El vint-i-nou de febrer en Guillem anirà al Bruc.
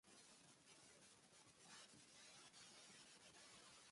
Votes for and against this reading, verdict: 1, 2, rejected